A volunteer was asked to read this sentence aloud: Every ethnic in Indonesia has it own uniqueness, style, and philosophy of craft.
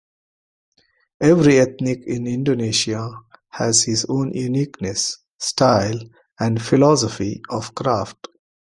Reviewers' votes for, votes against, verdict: 0, 2, rejected